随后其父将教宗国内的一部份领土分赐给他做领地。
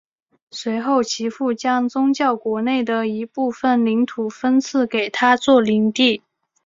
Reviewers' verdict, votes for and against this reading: accepted, 2, 1